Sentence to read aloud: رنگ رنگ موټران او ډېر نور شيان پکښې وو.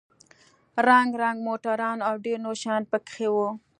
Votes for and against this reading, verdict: 2, 0, accepted